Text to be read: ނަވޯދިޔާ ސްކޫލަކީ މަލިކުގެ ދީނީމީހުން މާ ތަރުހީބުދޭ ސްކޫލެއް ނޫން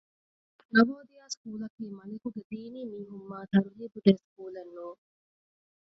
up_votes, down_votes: 0, 2